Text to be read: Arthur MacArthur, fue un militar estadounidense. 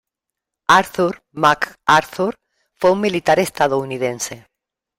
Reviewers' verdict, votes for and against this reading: rejected, 1, 2